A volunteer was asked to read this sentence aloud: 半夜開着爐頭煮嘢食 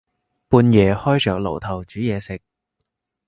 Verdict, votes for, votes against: accepted, 3, 1